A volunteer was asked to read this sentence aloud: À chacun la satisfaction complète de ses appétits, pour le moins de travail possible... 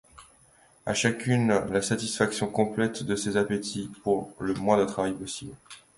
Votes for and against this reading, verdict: 0, 2, rejected